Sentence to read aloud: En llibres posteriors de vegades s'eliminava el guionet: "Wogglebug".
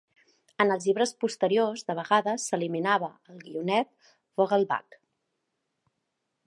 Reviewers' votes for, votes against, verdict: 1, 2, rejected